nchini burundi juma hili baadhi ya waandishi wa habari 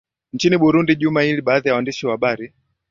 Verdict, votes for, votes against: accepted, 12, 0